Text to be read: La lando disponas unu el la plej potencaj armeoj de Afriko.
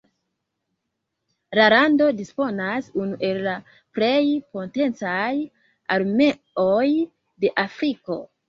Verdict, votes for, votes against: rejected, 1, 2